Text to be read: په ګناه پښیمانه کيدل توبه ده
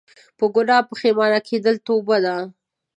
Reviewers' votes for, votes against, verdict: 2, 0, accepted